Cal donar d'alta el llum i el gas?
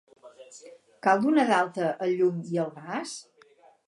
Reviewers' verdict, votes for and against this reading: accepted, 4, 0